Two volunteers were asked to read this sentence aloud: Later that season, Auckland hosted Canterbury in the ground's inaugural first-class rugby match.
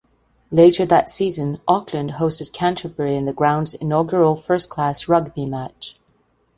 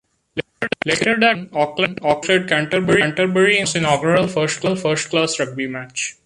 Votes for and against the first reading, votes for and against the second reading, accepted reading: 2, 0, 0, 2, first